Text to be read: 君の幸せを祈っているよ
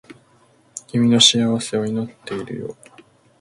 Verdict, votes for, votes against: accepted, 2, 0